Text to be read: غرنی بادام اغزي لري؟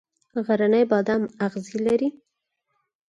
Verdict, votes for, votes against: rejected, 2, 4